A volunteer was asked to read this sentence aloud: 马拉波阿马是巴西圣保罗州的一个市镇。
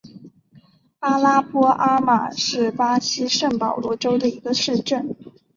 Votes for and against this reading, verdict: 2, 2, rejected